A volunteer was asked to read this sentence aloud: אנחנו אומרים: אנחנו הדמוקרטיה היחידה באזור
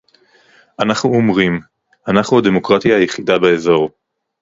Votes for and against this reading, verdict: 4, 0, accepted